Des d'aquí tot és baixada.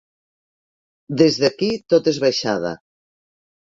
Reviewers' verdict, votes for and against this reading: accepted, 3, 0